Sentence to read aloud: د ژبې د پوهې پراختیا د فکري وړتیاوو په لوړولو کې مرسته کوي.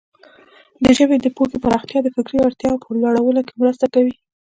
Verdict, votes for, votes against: accepted, 2, 0